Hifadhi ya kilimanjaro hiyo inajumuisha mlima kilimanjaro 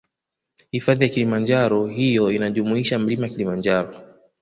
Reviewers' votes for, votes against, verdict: 2, 0, accepted